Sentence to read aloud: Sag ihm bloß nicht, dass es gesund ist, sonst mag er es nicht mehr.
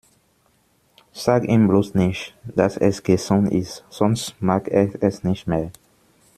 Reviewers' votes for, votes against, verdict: 1, 2, rejected